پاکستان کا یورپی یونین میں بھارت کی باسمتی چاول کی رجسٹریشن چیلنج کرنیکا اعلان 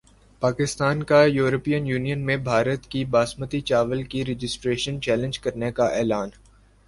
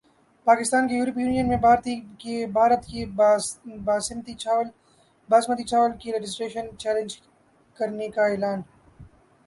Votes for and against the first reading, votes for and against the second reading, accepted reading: 3, 1, 2, 3, first